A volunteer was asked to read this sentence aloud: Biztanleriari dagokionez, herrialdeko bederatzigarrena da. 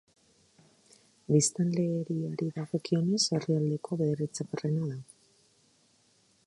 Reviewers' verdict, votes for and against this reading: rejected, 0, 2